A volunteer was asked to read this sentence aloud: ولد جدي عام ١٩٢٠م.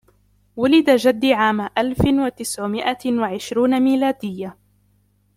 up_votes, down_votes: 0, 2